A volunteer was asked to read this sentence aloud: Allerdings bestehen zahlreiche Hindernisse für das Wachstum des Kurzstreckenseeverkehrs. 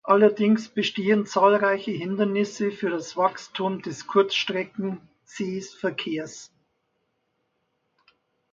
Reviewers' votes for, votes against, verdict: 0, 2, rejected